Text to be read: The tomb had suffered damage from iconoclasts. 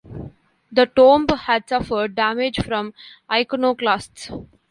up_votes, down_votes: 0, 2